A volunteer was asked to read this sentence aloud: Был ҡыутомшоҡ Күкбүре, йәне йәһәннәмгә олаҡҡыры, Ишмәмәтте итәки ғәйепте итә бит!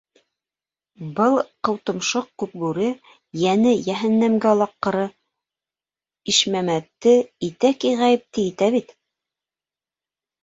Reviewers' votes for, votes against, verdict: 1, 2, rejected